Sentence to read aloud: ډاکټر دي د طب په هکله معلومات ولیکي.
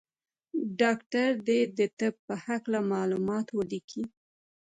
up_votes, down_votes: 2, 0